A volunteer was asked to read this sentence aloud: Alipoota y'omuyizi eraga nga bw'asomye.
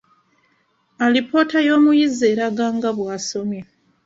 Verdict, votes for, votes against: accepted, 2, 0